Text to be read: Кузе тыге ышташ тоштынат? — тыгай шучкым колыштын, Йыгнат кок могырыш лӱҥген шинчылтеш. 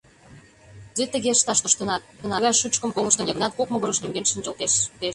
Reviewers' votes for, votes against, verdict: 0, 2, rejected